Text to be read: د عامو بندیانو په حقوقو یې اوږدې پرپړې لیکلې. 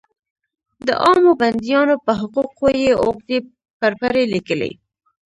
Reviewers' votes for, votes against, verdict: 1, 2, rejected